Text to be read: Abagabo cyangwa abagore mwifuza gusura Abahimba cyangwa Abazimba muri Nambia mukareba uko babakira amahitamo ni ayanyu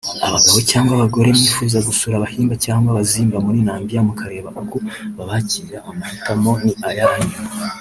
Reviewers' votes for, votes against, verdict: 2, 1, accepted